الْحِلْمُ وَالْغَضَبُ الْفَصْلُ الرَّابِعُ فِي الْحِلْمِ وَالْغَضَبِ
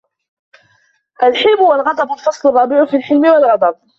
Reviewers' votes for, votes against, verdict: 2, 1, accepted